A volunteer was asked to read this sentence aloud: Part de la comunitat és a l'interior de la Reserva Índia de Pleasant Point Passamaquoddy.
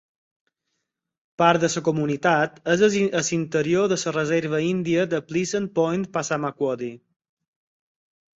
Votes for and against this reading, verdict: 2, 4, rejected